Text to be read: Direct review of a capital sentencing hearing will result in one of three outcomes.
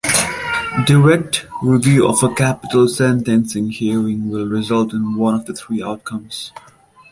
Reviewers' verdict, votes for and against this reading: rejected, 0, 2